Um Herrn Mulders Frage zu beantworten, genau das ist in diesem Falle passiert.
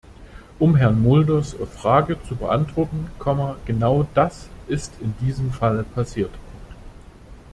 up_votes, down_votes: 0, 2